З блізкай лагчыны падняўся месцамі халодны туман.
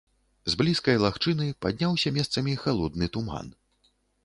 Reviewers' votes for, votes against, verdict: 2, 0, accepted